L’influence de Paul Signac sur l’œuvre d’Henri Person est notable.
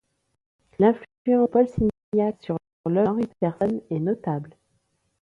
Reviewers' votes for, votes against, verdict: 1, 2, rejected